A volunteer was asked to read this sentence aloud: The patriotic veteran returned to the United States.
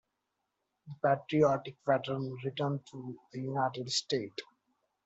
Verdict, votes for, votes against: rejected, 0, 2